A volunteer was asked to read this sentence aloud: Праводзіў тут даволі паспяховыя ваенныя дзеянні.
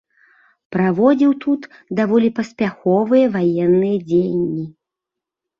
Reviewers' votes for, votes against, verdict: 2, 0, accepted